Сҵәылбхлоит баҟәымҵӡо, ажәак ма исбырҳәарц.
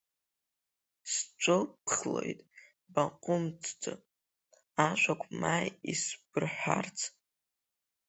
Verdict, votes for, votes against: rejected, 1, 3